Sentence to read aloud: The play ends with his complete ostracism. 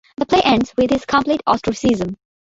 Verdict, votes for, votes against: accepted, 2, 0